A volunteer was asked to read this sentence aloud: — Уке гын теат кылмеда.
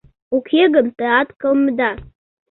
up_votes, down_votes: 2, 0